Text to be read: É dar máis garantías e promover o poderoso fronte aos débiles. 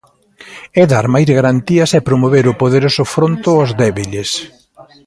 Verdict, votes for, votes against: accepted, 2, 0